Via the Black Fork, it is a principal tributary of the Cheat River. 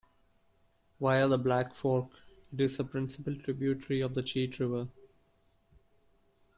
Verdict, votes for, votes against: accepted, 2, 0